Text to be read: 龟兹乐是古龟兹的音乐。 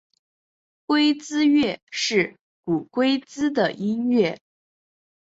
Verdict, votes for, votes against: accepted, 2, 0